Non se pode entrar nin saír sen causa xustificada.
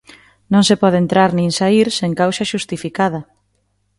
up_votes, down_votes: 2, 0